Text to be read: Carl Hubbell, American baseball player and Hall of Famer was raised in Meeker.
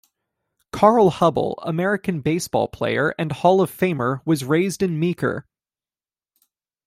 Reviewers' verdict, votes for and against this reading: accepted, 2, 0